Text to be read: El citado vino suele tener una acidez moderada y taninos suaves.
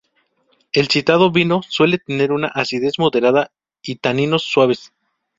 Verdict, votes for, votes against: accepted, 2, 0